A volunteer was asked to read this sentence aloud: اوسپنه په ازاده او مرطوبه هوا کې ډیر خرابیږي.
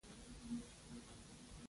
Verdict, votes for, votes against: rejected, 1, 2